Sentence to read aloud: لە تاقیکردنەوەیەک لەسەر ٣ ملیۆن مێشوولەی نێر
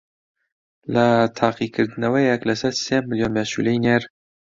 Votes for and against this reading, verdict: 0, 2, rejected